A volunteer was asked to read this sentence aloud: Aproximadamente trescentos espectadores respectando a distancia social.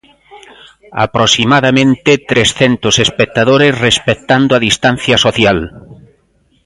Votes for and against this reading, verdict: 0, 2, rejected